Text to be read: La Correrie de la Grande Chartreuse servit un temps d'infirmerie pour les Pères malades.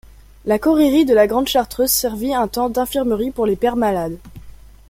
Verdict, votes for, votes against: accepted, 2, 0